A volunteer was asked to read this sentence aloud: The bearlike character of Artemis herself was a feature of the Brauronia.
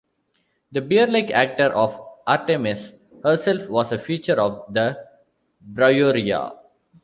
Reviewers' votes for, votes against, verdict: 1, 2, rejected